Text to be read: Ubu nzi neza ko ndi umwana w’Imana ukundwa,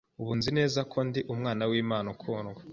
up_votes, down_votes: 2, 0